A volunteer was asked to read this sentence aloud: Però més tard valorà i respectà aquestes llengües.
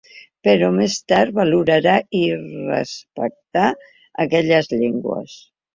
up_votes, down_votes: 0, 2